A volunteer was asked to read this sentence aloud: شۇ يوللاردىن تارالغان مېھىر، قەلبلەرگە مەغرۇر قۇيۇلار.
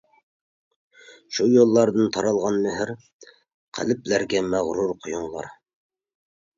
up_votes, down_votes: 0, 2